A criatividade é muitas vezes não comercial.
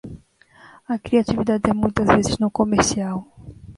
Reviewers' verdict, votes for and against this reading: rejected, 1, 2